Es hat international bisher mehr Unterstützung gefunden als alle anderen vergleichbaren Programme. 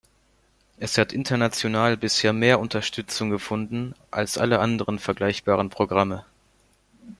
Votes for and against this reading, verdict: 2, 0, accepted